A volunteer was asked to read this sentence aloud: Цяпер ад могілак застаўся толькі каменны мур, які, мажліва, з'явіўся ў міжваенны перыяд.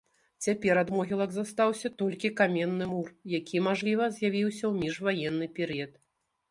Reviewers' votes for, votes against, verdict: 2, 0, accepted